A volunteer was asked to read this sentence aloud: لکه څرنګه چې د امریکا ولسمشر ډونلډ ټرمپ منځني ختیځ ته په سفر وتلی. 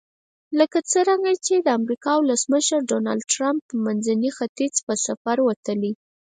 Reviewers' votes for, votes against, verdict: 2, 4, rejected